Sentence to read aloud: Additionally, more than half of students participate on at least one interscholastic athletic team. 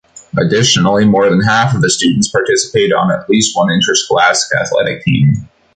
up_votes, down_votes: 1, 2